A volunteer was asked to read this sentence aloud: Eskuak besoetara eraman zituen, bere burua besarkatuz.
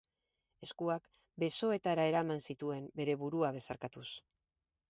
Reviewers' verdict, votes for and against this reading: rejected, 2, 2